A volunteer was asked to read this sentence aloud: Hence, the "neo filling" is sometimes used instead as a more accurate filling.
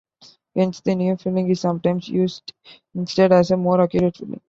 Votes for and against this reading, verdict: 0, 2, rejected